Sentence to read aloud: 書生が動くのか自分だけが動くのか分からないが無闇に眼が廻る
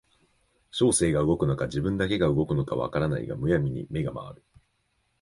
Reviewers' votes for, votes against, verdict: 2, 0, accepted